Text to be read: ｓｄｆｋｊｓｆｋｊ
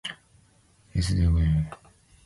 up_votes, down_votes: 0, 2